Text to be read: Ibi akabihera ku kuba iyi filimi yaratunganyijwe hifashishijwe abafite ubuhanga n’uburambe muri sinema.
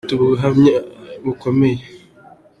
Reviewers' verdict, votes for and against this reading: rejected, 0, 2